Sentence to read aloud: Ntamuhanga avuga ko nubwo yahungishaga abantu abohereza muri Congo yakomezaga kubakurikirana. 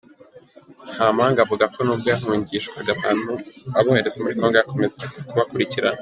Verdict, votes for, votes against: accepted, 2, 0